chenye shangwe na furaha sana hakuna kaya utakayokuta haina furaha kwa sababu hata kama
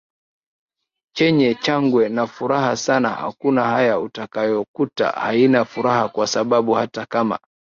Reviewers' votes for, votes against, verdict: 3, 6, rejected